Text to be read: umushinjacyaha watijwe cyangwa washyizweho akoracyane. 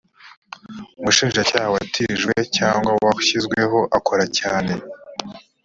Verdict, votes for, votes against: accepted, 2, 0